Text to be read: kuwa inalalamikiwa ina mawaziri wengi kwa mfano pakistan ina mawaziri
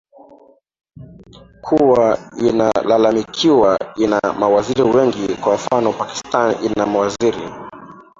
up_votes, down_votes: 1, 2